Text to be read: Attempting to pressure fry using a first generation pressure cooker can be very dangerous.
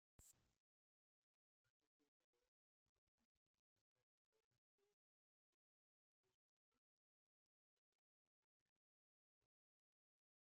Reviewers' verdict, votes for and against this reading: rejected, 0, 2